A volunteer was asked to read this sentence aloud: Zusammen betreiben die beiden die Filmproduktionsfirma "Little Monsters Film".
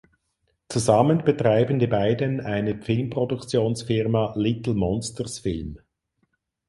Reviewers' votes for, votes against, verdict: 2, 4, rejected